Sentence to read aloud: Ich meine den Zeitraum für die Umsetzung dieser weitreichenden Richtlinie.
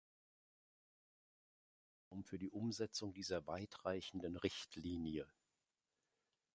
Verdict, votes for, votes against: rejected, 0, 2